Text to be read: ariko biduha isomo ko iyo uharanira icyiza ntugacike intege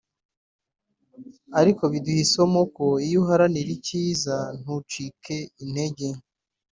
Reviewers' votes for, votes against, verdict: 0, 2, rejected